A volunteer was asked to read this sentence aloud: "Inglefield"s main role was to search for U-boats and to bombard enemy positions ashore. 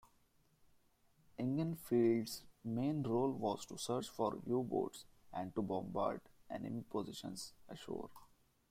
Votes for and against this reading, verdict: 2, 1, accepted